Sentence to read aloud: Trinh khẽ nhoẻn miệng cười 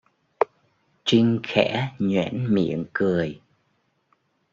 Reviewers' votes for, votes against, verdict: 1, 2, rejected